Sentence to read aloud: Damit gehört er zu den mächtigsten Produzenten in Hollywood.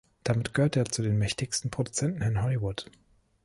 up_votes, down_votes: 0, 2